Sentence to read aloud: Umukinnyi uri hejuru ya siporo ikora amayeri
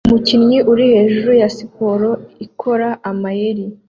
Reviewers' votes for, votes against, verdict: 2, 0, accepted